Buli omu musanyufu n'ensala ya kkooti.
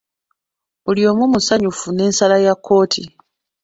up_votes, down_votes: 2, 0